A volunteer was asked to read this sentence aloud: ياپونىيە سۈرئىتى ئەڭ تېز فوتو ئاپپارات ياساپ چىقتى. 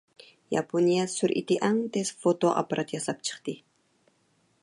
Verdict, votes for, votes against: accepted, 2, 0